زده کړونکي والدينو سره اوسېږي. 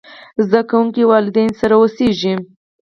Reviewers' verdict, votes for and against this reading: rejected, 2, 4